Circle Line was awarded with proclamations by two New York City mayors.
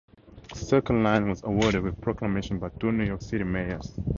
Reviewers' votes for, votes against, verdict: 2, 4, rejected